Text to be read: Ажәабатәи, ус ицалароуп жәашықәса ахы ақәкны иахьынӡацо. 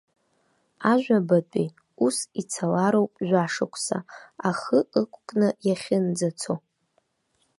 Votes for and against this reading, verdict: 0, 2, rejected